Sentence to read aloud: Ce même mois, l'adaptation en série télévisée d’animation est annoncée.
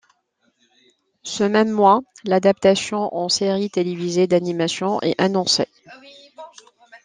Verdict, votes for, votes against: rejected, 1, 2